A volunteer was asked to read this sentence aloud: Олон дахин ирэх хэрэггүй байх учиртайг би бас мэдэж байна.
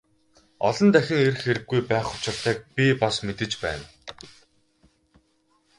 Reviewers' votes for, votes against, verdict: 0, 2, rejected